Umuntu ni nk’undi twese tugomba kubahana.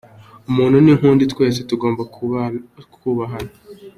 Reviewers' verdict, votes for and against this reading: rejected, 0, 3